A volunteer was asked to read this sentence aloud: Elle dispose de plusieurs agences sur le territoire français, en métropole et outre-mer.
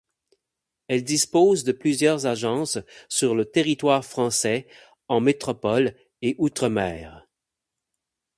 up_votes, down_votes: 8, 0